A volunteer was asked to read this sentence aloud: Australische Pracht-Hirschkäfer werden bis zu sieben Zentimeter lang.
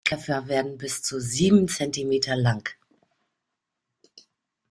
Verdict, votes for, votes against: rejected, 0, 2